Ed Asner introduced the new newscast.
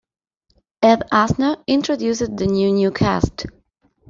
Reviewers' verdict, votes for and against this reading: rejected, 0, 2